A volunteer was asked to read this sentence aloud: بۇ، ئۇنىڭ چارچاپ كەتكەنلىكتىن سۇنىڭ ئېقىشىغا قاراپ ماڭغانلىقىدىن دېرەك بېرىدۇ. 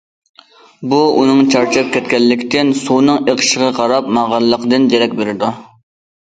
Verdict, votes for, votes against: accepted, 2, 0